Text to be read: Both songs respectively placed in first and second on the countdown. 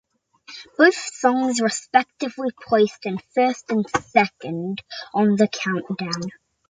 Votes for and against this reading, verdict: 2, 0, accepted